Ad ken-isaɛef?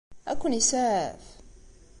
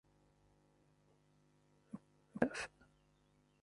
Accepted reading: first